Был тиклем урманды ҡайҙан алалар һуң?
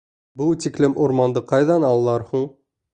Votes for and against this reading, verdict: 2, 0, accepted